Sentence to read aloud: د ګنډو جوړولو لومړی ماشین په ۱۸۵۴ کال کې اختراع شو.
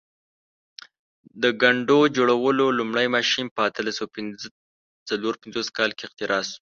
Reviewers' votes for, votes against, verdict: 0, 2, rejected